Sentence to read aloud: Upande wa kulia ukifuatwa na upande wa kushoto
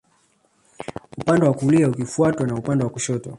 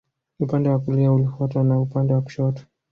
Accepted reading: second